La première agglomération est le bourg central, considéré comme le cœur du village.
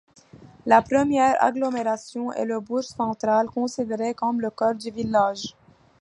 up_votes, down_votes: 2, 0